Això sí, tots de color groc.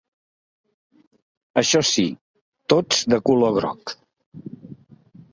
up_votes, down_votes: 3, 0